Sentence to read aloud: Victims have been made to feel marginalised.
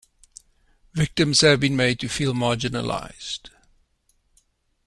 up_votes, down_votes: 2, 0